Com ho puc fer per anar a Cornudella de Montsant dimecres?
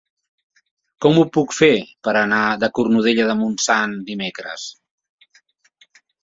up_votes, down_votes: 0, 2